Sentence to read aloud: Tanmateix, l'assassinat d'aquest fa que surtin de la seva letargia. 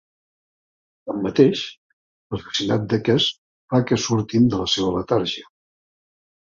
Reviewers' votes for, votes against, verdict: 2, 0, accepted